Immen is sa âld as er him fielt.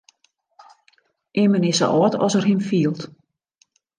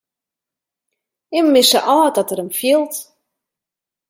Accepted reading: first